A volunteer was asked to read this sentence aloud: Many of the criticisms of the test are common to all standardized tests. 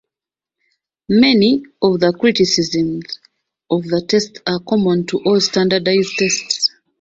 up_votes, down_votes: 2, 0